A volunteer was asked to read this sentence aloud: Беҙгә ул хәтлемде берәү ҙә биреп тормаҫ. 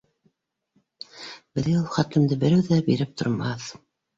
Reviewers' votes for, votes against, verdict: 2, 0, accepted